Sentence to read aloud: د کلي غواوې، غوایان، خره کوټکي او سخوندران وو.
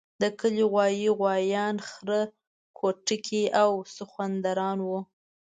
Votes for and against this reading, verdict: 2, 0, accepted